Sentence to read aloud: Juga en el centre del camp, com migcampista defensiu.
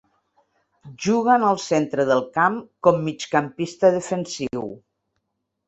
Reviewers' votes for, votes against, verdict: 2, 0, accepted